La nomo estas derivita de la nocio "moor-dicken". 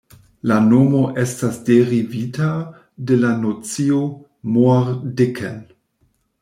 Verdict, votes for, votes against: rejected, 1, 2